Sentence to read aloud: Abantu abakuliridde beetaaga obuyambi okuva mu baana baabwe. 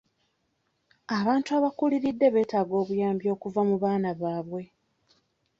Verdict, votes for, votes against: accepted, 2, 0